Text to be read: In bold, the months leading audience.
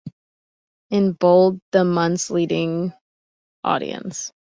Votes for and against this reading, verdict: 2, 0, accepted